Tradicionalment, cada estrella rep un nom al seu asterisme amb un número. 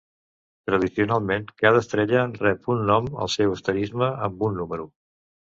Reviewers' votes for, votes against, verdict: 2, 1, accepted